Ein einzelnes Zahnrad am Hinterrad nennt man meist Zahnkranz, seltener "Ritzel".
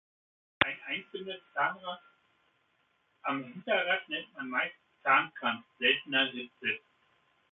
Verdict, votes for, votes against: rejected, 0, 2